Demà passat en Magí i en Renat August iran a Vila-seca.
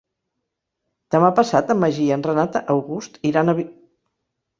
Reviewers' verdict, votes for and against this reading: rejected, 1, 3